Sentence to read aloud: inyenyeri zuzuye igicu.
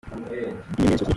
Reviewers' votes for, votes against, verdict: 0, 2, rejected